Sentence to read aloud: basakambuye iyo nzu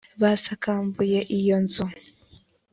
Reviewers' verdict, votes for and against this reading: accepted, 5, 0